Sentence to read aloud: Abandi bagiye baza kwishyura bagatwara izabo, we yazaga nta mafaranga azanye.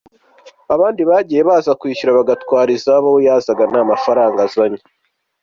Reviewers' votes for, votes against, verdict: 2, 0, accepted